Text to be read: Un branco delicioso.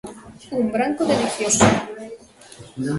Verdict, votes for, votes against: rejected, 1, 2